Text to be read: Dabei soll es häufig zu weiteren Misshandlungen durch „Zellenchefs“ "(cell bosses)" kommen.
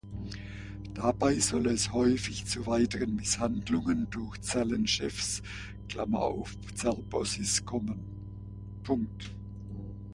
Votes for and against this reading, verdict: 0, 2, rejected